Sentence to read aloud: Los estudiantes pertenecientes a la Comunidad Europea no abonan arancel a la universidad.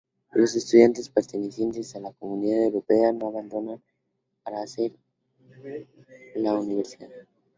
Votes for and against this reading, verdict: 2, 4, rejected